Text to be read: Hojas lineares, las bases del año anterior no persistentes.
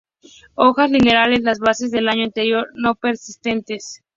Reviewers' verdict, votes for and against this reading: accepted, 2, 0